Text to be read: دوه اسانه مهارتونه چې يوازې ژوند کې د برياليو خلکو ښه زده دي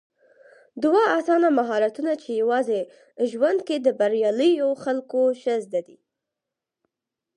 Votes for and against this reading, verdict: 6, 0, accepted